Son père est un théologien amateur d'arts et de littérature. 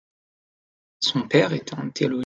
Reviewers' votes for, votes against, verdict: 0, 2, rejected